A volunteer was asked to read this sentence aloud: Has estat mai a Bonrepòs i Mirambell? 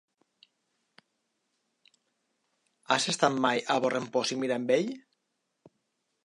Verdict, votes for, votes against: rejected, 2, 3